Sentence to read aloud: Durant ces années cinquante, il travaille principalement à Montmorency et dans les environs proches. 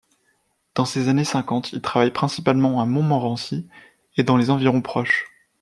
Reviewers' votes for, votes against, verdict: 0, 2, rejected